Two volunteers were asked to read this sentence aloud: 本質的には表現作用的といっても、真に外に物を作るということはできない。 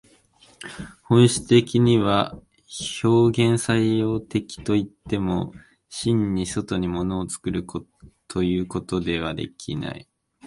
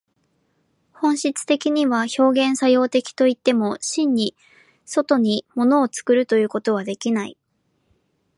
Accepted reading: second